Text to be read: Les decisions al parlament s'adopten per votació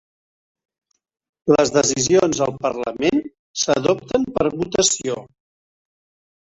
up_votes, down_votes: 3, 1